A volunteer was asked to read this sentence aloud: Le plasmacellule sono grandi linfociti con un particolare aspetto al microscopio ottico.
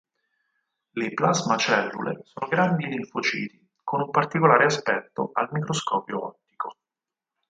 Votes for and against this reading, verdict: 0, 4, rejected